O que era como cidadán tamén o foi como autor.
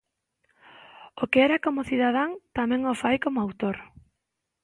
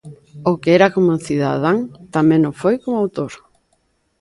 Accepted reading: second